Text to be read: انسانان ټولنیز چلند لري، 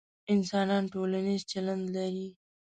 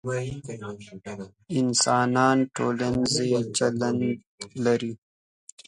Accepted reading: first